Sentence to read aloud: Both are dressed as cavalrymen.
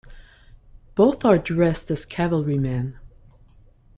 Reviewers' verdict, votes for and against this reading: accepted, 2, 0